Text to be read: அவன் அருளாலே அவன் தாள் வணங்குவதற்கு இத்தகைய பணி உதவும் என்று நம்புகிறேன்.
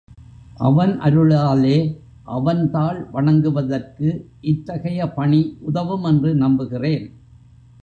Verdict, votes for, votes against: accepted, 2, 0